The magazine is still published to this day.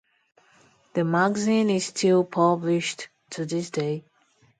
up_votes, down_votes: 2, 2